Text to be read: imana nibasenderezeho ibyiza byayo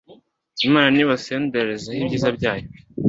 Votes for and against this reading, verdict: 2, 0, accepted